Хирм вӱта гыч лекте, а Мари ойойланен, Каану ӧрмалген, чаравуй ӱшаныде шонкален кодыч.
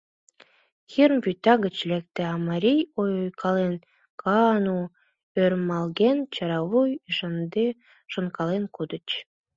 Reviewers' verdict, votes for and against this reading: rejected, 0, 2